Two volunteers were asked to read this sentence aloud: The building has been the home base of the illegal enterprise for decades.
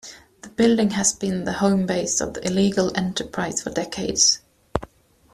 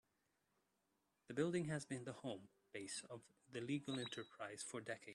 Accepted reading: first